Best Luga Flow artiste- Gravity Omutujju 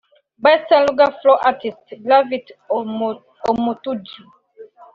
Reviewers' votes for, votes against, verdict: 0, 2, rejected